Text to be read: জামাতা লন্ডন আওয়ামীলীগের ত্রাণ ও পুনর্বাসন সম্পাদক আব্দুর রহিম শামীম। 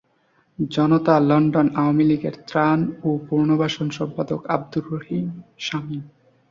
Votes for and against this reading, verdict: 0, 2, rejected